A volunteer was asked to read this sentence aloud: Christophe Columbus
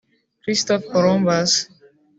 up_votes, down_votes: 0, 2